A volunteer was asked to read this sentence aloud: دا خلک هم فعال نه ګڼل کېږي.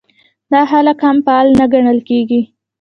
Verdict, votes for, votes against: accepted, 2, 0